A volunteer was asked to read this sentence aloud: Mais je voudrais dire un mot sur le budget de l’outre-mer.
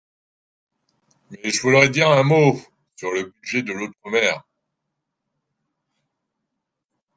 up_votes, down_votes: 1, 3